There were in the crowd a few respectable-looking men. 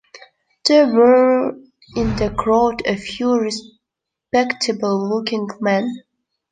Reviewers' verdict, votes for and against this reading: accepted, 2, 0